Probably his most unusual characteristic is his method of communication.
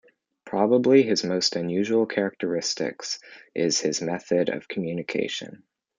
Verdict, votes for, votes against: accepted, 2, 1